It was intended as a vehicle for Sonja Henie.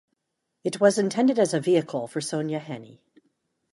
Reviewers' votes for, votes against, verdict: 2, 0, accepted